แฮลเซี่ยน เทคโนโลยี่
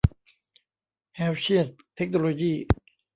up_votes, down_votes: 1, 2